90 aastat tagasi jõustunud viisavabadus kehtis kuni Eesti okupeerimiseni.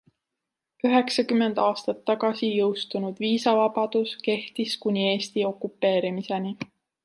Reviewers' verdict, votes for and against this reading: rejected, 0, 2